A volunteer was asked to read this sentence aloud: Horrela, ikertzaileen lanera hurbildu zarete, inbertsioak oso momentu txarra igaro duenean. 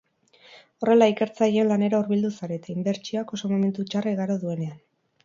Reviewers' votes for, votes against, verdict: 4, 0, accepted